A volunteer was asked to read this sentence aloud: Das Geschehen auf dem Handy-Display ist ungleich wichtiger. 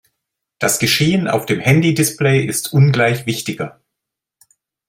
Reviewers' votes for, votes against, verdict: 2, 0, accepted